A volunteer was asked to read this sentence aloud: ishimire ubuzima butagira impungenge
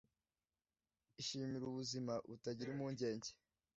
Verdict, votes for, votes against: accepted, 2, 0